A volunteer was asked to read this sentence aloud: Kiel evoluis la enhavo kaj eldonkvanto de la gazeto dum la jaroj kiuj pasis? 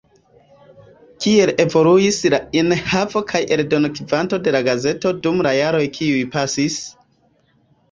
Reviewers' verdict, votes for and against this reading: rejected, 1, 2